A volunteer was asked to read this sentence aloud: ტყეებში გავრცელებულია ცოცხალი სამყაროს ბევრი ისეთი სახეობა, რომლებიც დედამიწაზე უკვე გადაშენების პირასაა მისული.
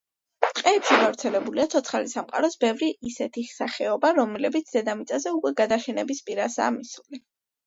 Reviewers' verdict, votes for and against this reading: accepted, 2, 0